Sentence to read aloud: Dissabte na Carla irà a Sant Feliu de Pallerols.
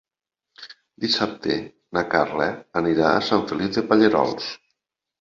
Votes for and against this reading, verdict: 0, 3, rejected